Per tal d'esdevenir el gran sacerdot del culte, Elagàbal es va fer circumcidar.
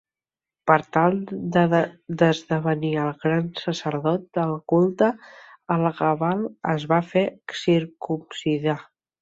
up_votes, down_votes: 1, 2